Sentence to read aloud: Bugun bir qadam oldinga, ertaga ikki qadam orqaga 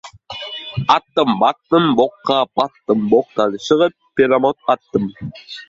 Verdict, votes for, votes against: rejected, 0, 2